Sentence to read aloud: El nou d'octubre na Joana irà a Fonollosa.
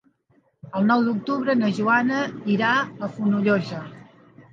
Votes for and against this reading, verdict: 4, 2, accepted